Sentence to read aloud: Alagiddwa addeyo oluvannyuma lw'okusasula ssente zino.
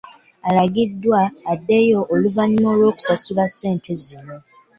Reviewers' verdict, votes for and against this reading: accepted, 2, 0